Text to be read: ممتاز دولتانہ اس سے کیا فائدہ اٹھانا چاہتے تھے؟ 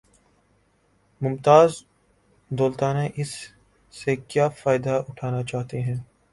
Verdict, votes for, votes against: rejected, 0, 2